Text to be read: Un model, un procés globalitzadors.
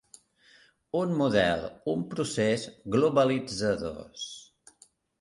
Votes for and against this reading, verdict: 3, 0, accepted